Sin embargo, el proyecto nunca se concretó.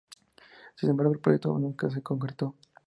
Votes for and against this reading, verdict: 2, 0, accepted